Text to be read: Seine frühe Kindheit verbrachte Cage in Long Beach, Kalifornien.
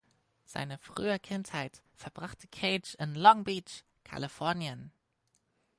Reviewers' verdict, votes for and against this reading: accepted, 4, 0